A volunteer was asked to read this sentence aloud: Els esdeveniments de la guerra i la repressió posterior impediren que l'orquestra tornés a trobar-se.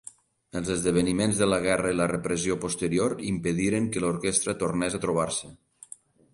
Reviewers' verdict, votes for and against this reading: accepted, 2, 0